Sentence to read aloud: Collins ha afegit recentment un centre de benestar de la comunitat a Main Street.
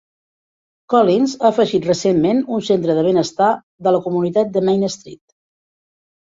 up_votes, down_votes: 1, 2